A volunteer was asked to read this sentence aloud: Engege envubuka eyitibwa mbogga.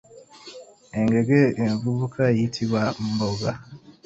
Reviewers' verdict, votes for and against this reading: accepted, 2, 0